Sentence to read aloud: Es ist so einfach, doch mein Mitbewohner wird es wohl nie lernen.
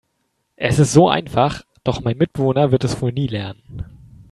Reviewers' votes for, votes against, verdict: 2, 1, accepted